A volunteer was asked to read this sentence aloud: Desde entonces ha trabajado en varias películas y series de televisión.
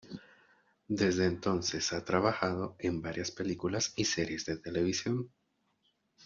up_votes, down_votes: 1, 2